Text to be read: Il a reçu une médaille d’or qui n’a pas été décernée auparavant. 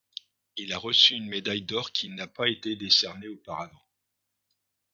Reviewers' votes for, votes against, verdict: 2, 0, accepted